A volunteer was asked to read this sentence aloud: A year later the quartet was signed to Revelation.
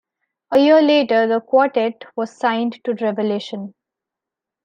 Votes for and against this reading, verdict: 2, 0, accepted